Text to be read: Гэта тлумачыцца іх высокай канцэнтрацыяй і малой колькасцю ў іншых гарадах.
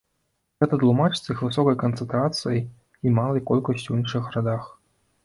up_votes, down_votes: 1, 2